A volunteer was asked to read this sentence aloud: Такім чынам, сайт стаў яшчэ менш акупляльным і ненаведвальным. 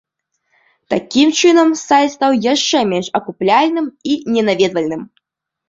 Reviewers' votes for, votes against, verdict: 2, 0, accepted